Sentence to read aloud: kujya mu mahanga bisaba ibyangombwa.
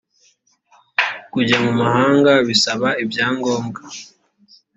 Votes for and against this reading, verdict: 2, 0, accepted